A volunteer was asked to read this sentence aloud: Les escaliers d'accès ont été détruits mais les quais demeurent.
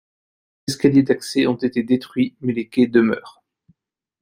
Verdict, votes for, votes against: accepted, 2, 1